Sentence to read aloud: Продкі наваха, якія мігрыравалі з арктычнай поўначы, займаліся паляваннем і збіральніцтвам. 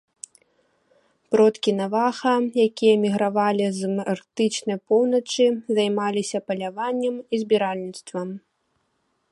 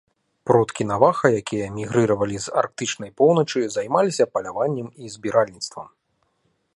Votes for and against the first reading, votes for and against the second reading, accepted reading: 1, 3, 2, 0, second